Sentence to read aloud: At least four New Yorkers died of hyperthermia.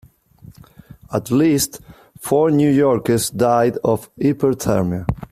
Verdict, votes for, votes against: rejected, 1, 2